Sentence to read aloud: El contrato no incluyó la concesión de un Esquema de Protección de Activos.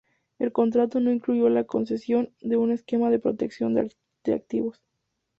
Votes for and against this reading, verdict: 2, 0, accepted